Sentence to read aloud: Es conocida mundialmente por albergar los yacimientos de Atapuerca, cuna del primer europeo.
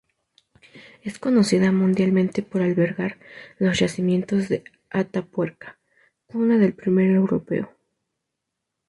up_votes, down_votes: 2, 0